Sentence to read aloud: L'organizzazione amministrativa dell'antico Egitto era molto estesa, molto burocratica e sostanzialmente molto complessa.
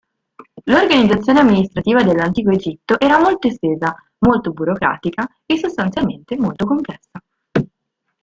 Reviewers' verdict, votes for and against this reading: accepted, 2, 0